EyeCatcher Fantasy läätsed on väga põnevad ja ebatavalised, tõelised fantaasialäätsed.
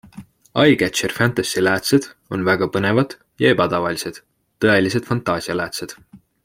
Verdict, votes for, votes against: accepted, 2, 0